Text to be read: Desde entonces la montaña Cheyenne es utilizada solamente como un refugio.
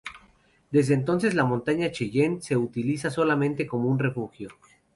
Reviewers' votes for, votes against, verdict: 0, 2, rejected